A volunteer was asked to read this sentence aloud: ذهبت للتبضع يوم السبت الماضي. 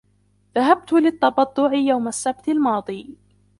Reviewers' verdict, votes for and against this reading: rejected, 1, 2